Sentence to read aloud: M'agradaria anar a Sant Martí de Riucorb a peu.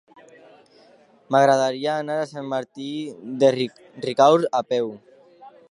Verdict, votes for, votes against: rejected, 0, 2